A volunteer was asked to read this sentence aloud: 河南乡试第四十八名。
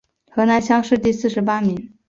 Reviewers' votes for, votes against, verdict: 4, 0, accepted